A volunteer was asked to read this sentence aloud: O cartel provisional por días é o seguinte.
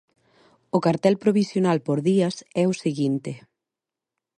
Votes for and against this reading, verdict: 2, 0, accepted